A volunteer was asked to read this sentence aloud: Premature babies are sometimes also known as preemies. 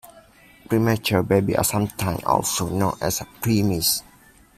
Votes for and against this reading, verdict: 2, 1, accepted